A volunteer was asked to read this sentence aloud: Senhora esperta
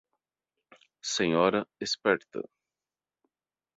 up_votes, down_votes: 2, 2